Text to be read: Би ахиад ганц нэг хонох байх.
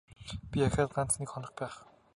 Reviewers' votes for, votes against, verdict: 5, 0, accepted